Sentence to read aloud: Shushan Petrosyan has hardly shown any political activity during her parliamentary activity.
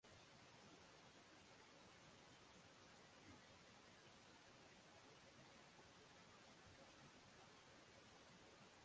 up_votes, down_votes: 0, 3